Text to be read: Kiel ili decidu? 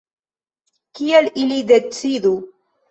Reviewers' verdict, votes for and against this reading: rejected, 0, 2